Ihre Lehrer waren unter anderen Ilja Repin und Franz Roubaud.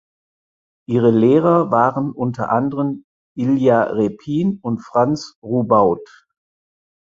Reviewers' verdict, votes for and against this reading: accepted, 4, 0